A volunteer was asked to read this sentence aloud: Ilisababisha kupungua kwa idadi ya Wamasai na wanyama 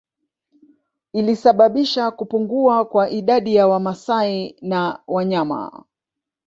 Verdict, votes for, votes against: rejected, 1, 2